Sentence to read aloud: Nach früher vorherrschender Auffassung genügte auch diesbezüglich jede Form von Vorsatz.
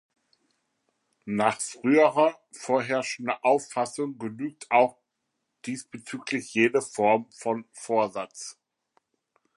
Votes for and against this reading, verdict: 1, 2, rejected